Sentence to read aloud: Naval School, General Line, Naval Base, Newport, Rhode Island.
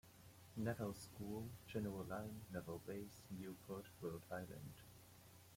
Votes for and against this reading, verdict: 2, 0, accepted